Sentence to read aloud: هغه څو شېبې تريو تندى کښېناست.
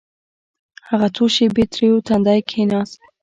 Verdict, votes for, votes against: accepted, 2, 0